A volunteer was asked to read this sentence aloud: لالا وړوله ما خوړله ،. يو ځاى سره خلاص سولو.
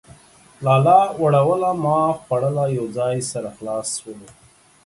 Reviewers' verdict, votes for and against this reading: accepted, 2, 0